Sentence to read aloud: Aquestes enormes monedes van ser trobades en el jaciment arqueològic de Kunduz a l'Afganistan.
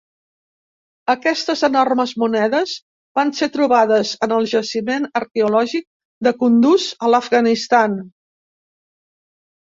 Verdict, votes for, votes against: accepted, 2, 0